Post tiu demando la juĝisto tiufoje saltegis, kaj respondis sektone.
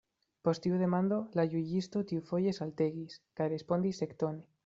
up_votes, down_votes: 1, 2